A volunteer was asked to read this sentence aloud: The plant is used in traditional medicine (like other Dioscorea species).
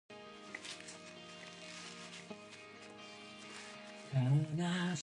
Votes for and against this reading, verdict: 0, 2, rejected